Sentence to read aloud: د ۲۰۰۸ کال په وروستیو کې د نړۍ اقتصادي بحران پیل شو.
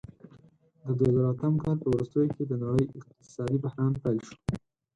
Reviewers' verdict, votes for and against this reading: rejected, 0, 2